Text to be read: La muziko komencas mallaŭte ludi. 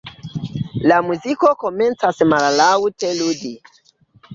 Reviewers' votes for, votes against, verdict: 1, 2, rejected